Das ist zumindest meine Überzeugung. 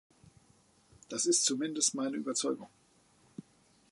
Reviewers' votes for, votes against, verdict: 2, 0, accepted